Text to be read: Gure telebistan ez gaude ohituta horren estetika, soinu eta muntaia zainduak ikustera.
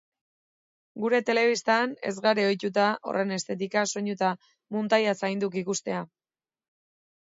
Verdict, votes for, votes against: rejected, 1, 3